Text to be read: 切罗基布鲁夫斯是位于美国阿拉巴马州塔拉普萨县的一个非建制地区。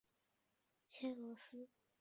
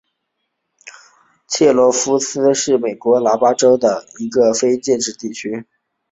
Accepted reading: second